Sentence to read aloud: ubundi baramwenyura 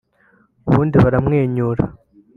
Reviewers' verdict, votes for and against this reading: accepted, 3, 0